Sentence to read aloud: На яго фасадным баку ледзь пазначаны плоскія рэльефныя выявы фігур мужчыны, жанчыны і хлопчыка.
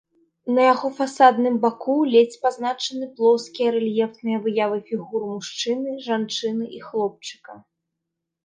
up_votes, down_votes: 3, 1